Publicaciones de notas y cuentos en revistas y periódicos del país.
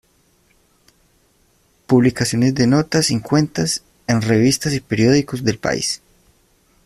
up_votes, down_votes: 1, 2